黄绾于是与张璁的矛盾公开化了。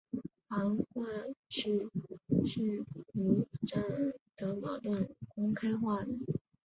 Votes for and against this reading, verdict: 1, 2, rejected